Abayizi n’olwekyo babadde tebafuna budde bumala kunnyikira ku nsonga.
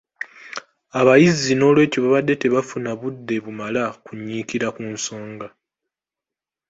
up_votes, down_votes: 2, 0